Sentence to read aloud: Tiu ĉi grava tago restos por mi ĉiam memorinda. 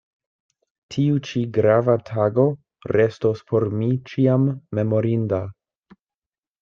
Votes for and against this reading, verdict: 2, 0, accepted